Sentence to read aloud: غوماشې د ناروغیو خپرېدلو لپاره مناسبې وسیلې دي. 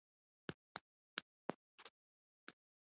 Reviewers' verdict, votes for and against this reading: rejected, 1, 2